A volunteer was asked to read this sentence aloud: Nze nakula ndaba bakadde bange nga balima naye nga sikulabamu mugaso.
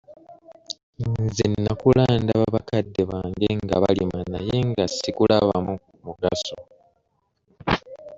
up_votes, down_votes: 0, 2